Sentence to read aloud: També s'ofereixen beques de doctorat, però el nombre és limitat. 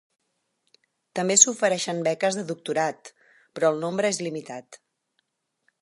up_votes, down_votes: 6, 0